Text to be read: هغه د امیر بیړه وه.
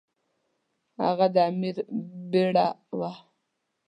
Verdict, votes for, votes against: accepted, 2, 0